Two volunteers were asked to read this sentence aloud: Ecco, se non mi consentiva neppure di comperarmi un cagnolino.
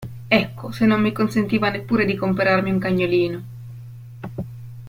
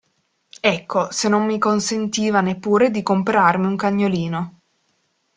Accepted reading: first